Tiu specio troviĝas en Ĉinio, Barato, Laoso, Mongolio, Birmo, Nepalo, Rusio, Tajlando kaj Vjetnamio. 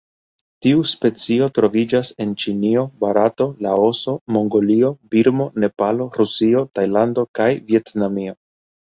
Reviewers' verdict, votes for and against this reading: accepted, 2, 0